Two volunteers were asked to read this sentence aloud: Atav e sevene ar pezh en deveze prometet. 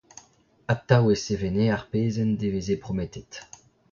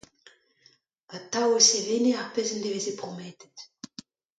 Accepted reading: second